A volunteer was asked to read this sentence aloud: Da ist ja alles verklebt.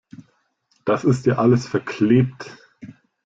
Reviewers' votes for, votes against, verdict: 0, 2, rejected